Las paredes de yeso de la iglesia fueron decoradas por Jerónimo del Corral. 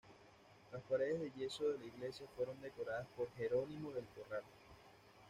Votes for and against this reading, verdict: 1, 2, rejected